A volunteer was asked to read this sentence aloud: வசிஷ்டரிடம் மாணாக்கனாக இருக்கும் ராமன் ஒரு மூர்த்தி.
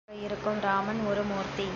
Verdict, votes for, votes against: rejected, 0, 2